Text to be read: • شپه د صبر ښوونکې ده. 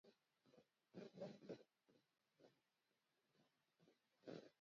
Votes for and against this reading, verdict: 0, 2, rejected